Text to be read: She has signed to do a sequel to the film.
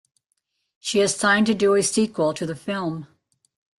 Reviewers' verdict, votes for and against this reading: accepted, 2, 0